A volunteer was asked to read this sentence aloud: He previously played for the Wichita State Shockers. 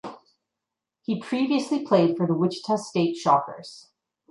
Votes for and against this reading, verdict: 2, 0, accepted